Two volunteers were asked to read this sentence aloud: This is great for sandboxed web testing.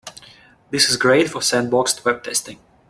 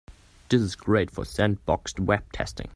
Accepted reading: first